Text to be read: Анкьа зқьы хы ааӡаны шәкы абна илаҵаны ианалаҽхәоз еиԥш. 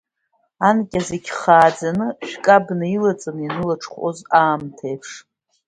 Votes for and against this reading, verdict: 1, 2, rejected